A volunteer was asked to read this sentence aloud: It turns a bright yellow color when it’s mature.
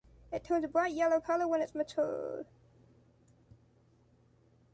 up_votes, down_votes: 1, 2